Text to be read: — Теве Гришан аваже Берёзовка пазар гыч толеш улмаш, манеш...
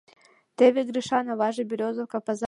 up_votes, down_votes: 0, 3